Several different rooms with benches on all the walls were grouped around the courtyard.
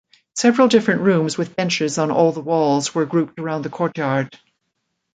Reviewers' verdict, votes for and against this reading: accepted, 2, 0